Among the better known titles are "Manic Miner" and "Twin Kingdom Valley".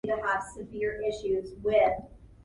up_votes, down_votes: 0, 2